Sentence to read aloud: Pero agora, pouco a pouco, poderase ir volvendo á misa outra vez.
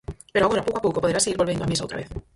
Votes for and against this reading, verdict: 0, 4, rejected